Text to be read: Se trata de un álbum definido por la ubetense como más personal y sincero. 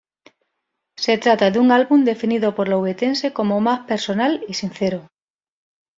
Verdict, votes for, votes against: accepted, 2, 0